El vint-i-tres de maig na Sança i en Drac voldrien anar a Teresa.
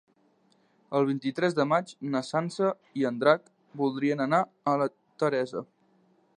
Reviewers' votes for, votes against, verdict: 1, 2, rejected